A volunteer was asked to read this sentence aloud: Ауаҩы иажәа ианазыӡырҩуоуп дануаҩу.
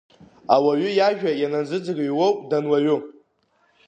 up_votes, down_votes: 4, 0